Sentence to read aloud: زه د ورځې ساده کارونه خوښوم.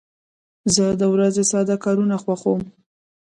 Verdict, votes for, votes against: rejected, 0, 2